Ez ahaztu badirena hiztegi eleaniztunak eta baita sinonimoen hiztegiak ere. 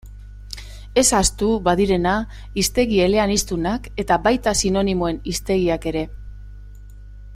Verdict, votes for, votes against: accepted, 2, 0